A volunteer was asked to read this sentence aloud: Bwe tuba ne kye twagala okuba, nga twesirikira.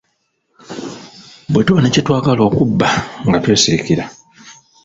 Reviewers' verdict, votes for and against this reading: rejected, 1, 2